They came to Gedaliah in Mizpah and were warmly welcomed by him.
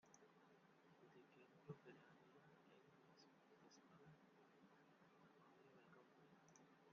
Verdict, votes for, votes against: rejected, 0, 2